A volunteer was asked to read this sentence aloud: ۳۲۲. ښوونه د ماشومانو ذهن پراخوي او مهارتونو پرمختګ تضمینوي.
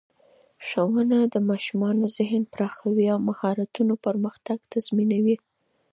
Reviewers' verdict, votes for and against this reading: rejected, 0, 2